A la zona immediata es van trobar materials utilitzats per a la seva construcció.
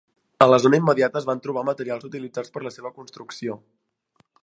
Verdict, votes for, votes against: rejected, 1, 2